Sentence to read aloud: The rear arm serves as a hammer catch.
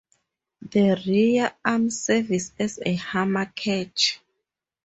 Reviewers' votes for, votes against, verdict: 2, 4, rejected